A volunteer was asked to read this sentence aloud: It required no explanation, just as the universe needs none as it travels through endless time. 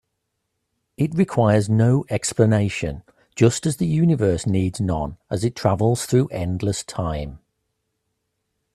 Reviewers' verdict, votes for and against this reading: rejected, 1, 2